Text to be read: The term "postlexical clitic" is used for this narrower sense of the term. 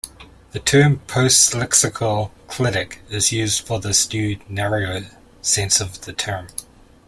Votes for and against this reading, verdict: 0, 2, rejected